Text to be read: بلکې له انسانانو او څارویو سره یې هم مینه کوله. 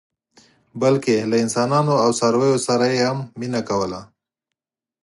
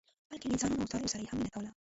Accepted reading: first